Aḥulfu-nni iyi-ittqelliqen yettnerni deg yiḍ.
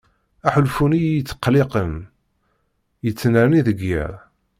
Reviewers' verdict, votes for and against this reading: accepted, 2, 0